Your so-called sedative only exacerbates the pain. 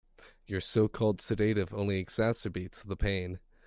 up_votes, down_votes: 2, 0